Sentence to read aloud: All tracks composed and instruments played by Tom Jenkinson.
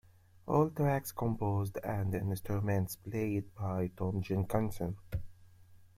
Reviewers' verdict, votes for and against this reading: accepted, 2, 0